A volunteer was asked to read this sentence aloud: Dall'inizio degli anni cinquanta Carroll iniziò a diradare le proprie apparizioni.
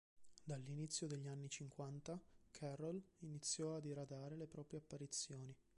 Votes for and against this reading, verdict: 2, 0, accepted